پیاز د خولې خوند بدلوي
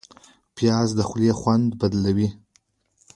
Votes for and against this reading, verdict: 2, 0, accepted